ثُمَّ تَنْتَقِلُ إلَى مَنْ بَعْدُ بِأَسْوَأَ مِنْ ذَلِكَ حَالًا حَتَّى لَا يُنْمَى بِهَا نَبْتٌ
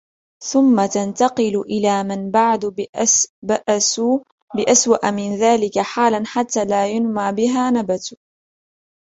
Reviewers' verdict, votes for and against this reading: accepted, 3, 1